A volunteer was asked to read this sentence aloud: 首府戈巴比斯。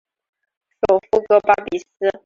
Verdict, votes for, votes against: rejected, 0, 2